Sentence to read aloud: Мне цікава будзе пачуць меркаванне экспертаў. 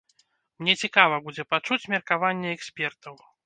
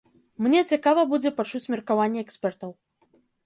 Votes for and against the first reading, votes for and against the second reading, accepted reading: 2, 0, 1, 2, first